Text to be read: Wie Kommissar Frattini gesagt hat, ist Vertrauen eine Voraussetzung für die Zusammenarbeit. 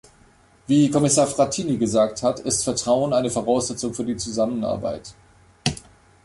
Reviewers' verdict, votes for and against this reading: accepted, 3, 0